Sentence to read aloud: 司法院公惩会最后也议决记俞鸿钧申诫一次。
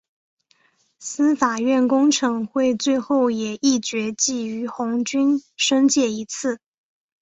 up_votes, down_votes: 2, 0